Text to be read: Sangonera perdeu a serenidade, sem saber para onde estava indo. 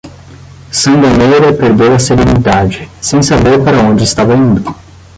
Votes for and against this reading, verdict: 0, 10, rejected